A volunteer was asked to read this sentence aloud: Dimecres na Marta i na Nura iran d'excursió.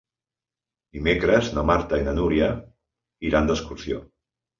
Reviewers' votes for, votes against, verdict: 1, 2, rejected